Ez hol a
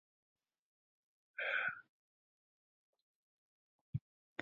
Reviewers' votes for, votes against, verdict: 0, 2, rejected